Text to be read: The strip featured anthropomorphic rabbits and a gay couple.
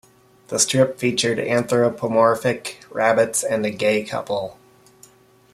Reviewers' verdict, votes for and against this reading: accepted, 2, 0